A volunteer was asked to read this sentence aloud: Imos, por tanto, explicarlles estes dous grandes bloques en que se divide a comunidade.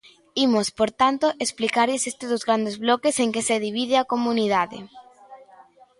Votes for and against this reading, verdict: 0, 2, rejected